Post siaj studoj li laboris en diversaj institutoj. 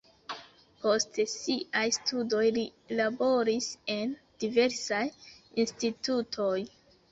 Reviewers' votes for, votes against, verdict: 1, 2, rejected